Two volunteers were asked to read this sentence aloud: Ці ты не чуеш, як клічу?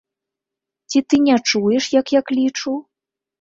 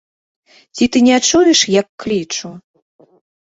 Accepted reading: second